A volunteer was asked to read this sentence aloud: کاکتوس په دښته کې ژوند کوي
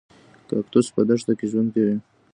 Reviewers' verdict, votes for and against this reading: rejected, 0, 2